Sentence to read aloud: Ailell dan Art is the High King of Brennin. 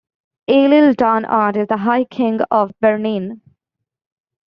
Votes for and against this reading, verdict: 0, 2, rejected